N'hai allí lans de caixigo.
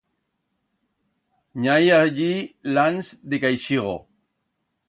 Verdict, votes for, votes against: rejected, 1, 2